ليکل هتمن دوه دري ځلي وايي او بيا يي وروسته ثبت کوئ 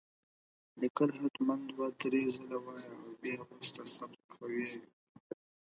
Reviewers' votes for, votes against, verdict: 0, 4, rejected